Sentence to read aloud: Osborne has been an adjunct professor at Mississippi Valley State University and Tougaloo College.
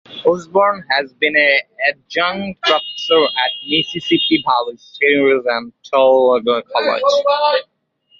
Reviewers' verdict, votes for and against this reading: rejected, 1, 2